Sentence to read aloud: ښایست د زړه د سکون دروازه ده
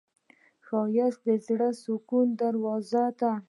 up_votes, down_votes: 1, 2